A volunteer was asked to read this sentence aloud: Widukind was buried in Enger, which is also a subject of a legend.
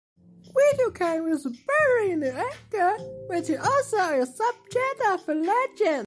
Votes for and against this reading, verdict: 2, 0, accepted